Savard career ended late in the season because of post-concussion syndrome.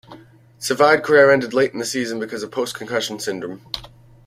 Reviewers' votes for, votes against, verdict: 2, 0, accepted